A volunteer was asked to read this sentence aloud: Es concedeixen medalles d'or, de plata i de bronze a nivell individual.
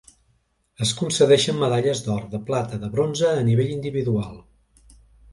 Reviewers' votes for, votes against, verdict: 1, 2, rejected